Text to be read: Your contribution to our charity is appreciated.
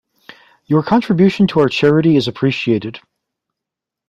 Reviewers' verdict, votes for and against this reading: accepted, 2, 0